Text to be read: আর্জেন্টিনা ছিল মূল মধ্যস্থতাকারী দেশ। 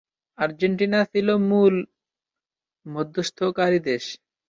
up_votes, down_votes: 0, 6